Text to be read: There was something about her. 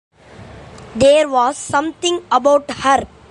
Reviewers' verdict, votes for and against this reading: accepted, 2, 0